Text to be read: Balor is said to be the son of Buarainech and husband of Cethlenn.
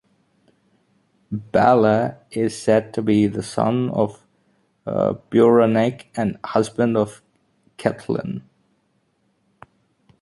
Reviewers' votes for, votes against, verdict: 0, 2, rejected